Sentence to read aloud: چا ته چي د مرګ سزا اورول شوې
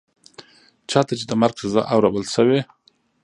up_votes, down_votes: 3, 0